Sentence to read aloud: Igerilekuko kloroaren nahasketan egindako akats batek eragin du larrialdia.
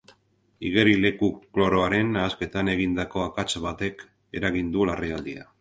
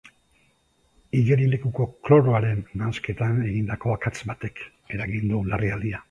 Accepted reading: first